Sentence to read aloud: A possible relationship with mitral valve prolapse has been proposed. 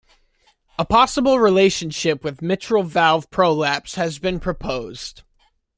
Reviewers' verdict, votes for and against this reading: accepted, 2, 0